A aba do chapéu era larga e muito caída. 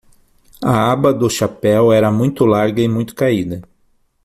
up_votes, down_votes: 0, 6